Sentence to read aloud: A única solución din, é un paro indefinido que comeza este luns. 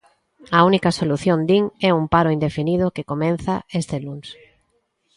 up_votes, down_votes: 0, 2